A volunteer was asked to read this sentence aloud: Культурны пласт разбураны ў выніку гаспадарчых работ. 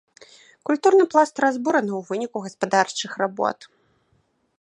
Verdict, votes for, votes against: accepted, 2, 0